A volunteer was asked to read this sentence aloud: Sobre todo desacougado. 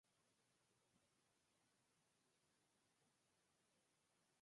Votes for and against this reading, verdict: 0, 6, rejected